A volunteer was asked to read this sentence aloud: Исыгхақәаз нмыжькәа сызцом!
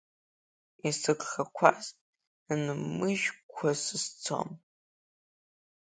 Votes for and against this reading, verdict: 2, 1, accepted